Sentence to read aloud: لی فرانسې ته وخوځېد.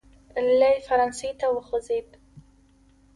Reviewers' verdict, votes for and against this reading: accepted, 2, 0